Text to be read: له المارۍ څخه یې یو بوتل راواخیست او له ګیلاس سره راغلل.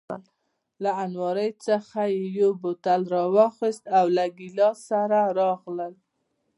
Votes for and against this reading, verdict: 2, 1, accepted